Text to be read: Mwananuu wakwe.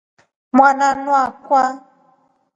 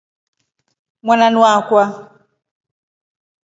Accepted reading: second